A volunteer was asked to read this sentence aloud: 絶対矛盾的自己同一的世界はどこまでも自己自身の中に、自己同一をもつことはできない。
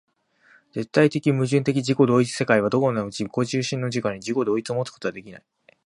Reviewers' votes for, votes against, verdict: 2, 4, rejected